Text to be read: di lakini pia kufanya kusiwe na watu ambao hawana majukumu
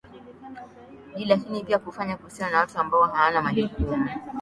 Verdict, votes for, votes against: rejected, 1, 3